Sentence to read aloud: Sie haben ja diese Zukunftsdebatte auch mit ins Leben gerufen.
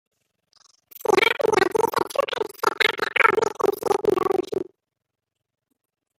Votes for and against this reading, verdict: 0, 2, rejected